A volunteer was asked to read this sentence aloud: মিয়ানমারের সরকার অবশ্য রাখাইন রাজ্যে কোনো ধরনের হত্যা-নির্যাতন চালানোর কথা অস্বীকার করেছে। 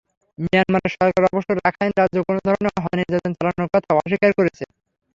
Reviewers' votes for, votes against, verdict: 0, 3, rejected